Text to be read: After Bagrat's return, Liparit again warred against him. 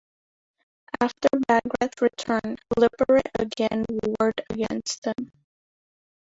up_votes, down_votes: 0, 2